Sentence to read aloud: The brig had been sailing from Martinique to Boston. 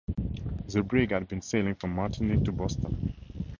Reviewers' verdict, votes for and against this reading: accepted, 4, 0